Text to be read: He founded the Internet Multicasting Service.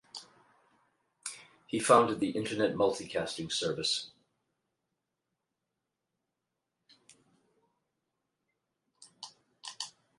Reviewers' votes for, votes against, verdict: 0, 4, rejected